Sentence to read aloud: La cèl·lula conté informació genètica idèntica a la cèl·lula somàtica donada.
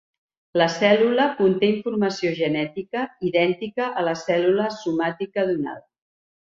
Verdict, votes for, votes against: accepted, 4, 0